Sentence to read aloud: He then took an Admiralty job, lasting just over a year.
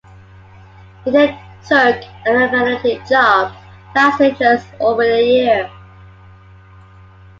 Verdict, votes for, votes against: rejected, 0, 2